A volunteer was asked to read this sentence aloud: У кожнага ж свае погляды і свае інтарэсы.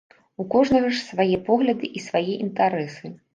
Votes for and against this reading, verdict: 2, 0, accepted